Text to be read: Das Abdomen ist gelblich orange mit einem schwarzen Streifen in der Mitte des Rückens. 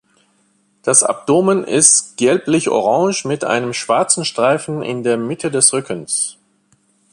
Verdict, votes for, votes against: accepted, 2, 0